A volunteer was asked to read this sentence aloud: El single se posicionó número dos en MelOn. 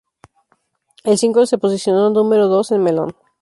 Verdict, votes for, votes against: accepted, 4, 0